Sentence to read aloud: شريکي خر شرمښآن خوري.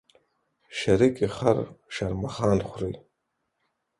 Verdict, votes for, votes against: accepted, 4, 0